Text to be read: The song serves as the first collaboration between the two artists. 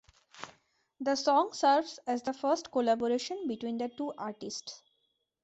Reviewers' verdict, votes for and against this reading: rejected, 1, 2